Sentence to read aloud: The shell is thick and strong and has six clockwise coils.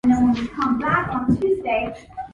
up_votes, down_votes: 0, 2